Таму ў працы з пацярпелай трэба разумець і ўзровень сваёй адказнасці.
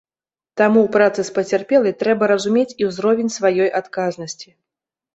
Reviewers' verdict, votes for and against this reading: accepted, 2, 0